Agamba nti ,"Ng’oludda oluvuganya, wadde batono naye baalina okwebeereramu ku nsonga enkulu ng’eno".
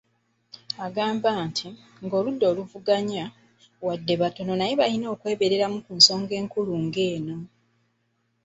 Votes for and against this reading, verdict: 2, 1, accepted